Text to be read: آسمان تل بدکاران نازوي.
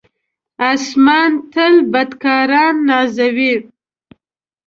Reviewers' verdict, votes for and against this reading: accepted, 2, 0